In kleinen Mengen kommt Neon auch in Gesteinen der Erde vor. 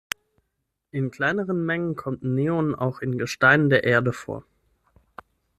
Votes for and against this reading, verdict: 0, 6, rejected